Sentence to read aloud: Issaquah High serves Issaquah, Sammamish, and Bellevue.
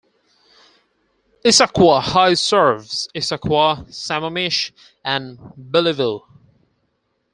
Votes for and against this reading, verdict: 4, 2, accepted